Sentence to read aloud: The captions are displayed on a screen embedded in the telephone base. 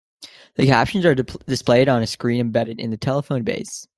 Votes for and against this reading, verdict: 1, 2, rejected